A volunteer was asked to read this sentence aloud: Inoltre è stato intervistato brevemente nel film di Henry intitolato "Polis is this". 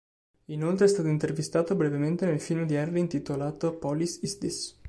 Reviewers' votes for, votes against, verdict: 3, 0, accepted